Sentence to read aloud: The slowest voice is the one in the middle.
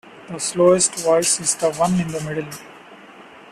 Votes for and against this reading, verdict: 0, 2, rejected